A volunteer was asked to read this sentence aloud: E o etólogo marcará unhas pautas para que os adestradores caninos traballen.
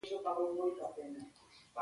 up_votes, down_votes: 0, 2